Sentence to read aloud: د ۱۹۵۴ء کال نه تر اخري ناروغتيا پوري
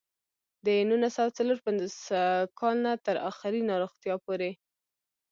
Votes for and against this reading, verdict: 0, 2, rejected